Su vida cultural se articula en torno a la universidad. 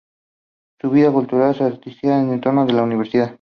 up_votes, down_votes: 0, 4